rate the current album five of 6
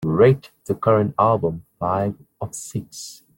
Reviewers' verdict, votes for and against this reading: rejected, 0, 2